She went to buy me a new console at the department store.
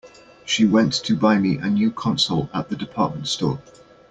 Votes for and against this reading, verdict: 2, 0, accepted